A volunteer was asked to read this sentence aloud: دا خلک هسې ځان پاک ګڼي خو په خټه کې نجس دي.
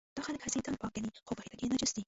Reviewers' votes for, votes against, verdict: 0, 2, rejected